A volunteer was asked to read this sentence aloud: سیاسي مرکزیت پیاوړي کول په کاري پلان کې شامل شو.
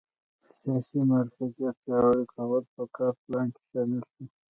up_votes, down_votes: 1, 2